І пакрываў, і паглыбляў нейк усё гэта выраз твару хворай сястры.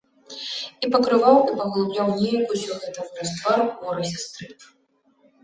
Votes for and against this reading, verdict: 1, 2, rejected